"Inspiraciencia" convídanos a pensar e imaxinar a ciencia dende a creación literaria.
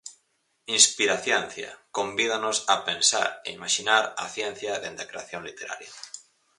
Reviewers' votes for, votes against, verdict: 4, 0, accepted